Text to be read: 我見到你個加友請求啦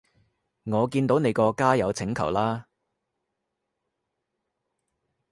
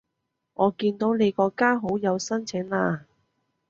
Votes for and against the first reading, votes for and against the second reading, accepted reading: 3, 0, 1, 2, first